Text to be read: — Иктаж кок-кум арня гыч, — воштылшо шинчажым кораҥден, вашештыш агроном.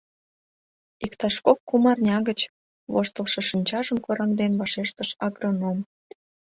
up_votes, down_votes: 2, 0